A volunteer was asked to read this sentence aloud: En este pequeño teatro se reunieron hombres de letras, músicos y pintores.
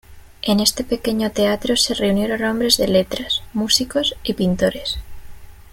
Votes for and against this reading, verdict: 1, 2, rejected